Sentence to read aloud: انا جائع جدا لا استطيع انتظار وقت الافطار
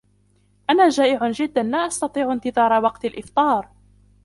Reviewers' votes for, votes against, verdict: 0, 2, rejected